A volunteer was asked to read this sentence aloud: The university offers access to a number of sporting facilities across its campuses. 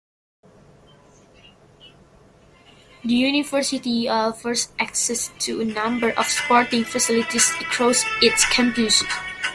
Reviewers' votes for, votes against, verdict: 0, 2, rejected